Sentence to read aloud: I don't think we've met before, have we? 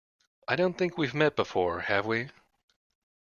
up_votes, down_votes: 2, 0